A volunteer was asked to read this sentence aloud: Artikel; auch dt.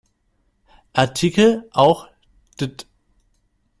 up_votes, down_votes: 1, 2